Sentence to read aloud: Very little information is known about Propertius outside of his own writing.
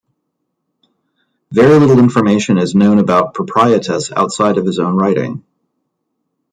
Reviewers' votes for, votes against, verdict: 1, 2, rejected